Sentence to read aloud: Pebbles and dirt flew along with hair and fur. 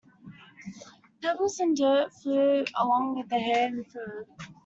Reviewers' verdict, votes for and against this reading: rejected, 0, 2